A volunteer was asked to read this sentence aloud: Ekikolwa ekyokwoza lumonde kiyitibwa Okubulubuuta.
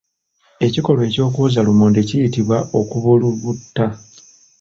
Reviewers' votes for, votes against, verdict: 0, 2, rejected